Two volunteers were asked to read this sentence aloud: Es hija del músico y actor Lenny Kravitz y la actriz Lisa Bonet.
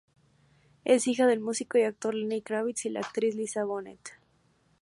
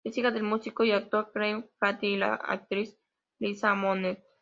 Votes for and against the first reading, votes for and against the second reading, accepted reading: 2, 0, 0, 2, first